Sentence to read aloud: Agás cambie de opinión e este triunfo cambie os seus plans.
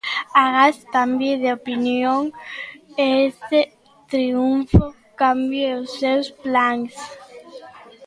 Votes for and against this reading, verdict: 2, 1, accepted